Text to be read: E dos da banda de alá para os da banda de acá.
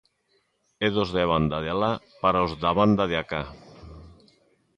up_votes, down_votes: 2, 0